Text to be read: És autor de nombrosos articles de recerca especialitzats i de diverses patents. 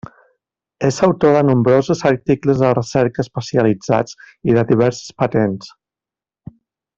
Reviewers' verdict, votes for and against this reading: accepted, 2, 0